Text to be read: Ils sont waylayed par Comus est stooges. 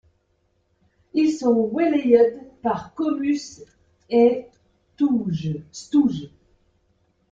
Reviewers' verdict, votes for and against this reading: rejected, 0, 2